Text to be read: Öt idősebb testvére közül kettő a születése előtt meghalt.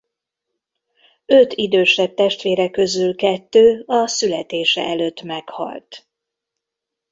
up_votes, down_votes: 2, 0